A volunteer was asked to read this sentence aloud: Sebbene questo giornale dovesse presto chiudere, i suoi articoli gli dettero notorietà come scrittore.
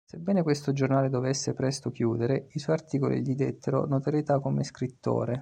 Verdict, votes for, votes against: accepted, 2, 0